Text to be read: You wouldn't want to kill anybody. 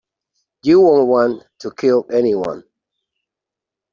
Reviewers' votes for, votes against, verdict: 0, 2, rejected